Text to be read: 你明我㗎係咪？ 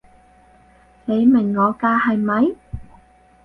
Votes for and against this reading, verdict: 4, 0, accepted